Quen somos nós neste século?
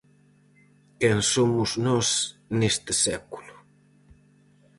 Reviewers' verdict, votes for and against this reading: accepted, 4, 0